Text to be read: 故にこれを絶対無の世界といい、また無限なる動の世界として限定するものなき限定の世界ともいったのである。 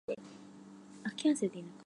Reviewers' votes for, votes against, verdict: 0, 3, rejected